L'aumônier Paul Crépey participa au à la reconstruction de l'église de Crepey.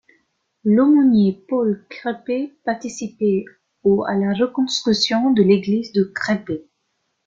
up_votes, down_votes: 1, 2